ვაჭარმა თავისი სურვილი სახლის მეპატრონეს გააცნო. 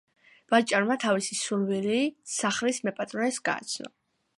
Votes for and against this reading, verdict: 3, 0, accepted